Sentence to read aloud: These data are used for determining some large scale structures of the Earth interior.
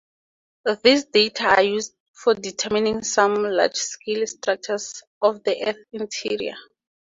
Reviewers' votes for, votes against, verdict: 2, 0, accepted